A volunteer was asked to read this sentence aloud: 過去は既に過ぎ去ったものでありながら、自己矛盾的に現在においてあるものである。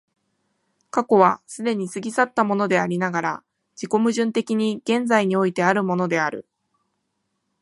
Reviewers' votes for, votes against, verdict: 2, 0, accepted